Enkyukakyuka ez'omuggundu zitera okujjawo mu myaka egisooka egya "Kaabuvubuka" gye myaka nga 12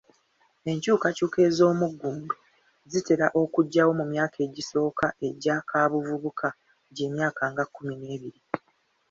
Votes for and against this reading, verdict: 0, 2, rejected